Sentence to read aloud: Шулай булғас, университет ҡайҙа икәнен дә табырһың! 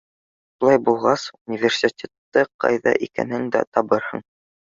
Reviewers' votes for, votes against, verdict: 0, 2, rejected